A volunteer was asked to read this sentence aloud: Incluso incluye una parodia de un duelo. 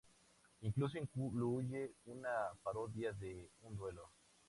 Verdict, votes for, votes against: rejected, 0, 2